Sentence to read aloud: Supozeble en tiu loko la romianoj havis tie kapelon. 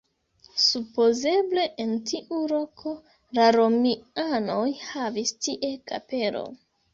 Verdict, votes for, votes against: rejected, 1, 2